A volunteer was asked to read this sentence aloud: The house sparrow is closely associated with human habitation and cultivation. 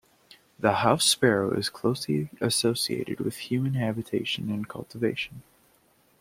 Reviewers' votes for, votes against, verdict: 2, 0, accepted